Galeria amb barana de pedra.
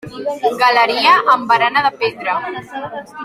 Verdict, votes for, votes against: accepted, 3, 1